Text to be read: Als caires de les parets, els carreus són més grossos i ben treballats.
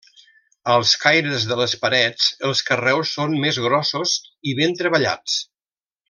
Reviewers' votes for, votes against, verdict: 2, 0, accepted